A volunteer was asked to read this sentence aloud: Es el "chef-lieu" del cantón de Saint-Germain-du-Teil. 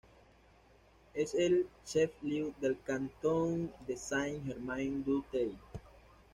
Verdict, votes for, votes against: accepted, 2, 0